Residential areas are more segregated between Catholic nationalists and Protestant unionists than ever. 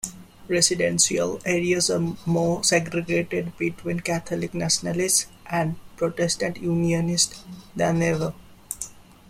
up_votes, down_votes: 0, 2